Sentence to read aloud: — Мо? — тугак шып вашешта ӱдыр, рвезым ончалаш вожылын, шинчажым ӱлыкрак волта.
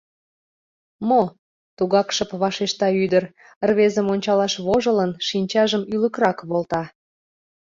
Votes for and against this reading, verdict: 2, 0, accepted